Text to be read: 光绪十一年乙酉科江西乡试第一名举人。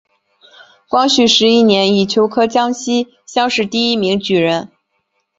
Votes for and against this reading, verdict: 2, 1, accepted